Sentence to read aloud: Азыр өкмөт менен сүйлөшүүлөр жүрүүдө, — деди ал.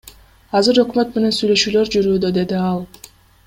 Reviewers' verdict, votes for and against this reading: accepted, 2, 0